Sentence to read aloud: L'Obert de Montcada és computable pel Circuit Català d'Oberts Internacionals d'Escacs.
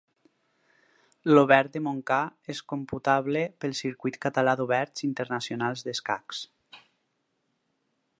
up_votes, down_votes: 2, 4